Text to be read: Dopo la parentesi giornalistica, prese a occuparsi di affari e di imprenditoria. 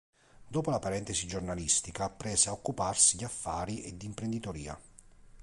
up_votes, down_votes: 2, 0